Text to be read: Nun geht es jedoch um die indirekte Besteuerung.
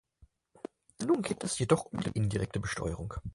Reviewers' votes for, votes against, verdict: 4, 0, accepted